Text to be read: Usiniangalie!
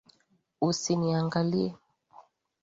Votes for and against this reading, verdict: 4, 0, accepted